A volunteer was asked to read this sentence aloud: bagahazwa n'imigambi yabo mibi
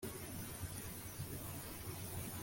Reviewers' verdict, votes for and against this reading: rejected, 0, 2